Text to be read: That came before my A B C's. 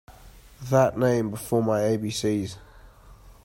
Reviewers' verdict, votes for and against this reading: rejected, 0, 2